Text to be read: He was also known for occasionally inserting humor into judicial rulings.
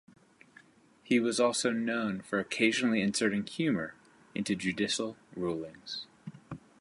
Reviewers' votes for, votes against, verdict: 2, 0, accepted